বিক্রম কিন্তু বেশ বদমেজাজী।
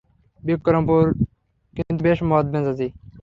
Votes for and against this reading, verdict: 0, 3, rejected